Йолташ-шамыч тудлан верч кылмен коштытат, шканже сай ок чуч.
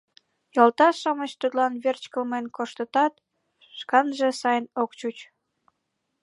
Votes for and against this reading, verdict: 2, 0, accepted